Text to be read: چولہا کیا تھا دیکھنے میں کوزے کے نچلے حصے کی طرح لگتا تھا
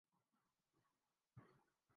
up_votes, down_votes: 0, 2